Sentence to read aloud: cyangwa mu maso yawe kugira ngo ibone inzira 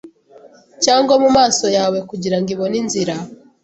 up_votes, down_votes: 2, 0